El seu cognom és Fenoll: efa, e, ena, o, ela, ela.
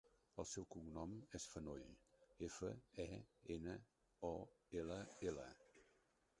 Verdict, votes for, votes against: rejected, 0, 2